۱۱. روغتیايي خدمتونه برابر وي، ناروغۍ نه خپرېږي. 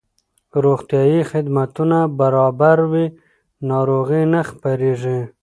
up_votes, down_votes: 0, 2